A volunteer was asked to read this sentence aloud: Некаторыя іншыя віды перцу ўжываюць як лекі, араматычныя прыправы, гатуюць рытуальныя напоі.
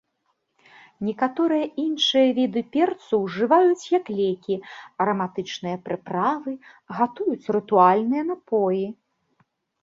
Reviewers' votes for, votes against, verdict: 2, 0, accepted